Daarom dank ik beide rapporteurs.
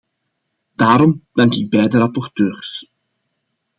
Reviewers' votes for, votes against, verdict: 2, 0, accepted